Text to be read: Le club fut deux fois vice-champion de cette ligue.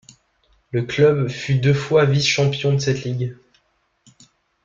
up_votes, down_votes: 2, 0